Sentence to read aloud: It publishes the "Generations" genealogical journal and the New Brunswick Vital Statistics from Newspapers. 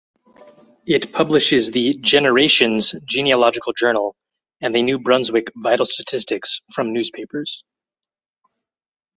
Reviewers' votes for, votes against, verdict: 4, 2, accepted